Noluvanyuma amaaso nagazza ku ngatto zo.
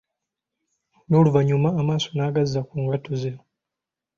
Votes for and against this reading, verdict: 0, 3, rejected